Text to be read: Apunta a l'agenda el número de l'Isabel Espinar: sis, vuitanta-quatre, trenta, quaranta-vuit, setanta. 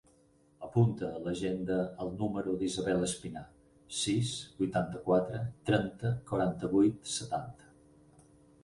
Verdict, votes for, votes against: rejected, 0, 4